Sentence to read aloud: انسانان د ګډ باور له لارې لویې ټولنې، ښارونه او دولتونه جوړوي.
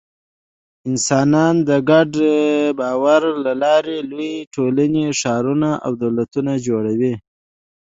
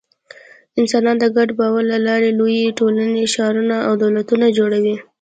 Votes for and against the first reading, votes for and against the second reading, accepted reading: 1, 2, 2, 0, second